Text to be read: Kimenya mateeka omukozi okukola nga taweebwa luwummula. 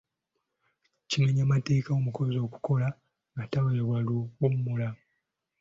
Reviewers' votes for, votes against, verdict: 2, 0, accepted